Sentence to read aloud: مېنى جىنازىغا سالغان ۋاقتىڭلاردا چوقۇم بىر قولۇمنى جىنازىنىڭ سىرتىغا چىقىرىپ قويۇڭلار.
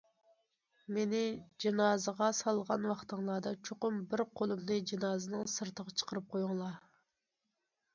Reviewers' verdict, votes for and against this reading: accepted, 2, 1